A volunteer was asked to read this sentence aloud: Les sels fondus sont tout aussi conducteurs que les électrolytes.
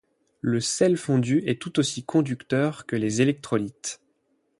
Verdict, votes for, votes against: rejected, 4, 8